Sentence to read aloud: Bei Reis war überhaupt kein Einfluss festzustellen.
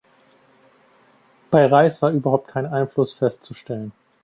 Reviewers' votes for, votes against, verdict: 2, 0, accepted